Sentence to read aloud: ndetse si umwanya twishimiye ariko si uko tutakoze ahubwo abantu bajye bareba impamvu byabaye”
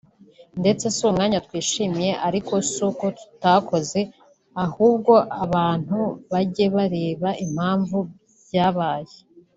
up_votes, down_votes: 2, 0